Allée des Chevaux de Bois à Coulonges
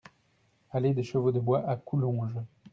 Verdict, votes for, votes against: accepted, 2, 0